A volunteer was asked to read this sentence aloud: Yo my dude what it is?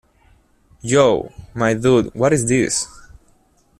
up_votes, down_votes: 0, 2